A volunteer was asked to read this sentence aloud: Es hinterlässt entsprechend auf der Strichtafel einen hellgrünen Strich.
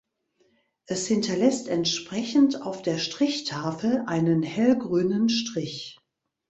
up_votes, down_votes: 2, 1